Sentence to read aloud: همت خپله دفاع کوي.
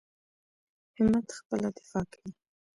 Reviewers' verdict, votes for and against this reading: rejected, 1, 2